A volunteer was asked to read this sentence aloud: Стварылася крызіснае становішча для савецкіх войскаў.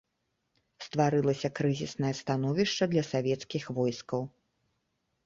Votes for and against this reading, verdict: 2, 0, accepted